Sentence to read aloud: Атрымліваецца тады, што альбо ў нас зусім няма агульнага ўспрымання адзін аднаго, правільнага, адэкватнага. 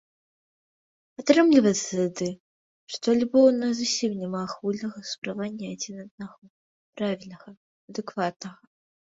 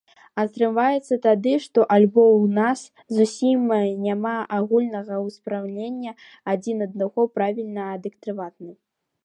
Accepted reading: first